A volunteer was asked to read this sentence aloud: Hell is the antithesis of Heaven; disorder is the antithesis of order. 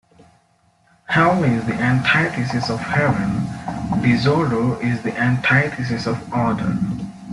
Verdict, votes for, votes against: accepted, 3, 2